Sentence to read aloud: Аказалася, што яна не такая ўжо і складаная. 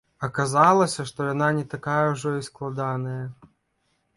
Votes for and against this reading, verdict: 0, 2, rejected